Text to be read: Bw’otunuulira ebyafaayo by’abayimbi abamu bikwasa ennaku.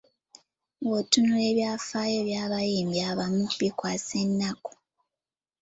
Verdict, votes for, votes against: accepted, 2, 0